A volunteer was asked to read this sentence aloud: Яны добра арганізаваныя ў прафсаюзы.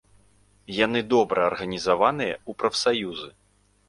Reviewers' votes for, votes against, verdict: 2, 0, accepted